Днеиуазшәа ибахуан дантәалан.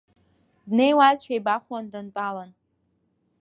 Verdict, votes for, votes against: rejected, 1, 2